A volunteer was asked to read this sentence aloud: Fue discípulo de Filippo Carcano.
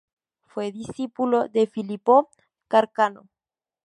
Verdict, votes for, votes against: rejected, 0, 2